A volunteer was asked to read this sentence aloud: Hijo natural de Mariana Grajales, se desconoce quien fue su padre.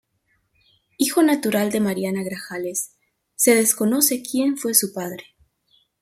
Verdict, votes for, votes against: accepted, 2, 0